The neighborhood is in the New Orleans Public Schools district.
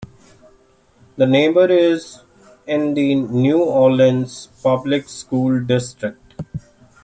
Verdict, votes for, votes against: rejected, 0, 2